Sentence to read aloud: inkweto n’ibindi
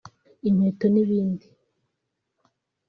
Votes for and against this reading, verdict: 2, 0, accepted